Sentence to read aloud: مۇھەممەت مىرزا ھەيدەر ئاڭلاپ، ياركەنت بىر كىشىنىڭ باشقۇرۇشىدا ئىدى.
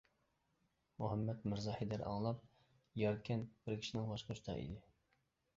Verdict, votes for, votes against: rejected, 0, 2